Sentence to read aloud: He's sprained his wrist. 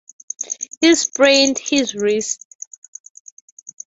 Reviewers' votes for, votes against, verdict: 0, 3, rejected